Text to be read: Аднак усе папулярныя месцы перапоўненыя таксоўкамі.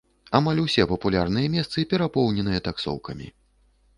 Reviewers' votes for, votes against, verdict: 0, 2, rejected